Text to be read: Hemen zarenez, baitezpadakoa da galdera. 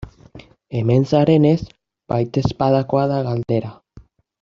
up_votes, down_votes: 2, 0